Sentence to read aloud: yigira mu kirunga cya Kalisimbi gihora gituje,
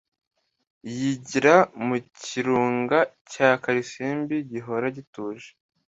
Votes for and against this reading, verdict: 2, 0, accepted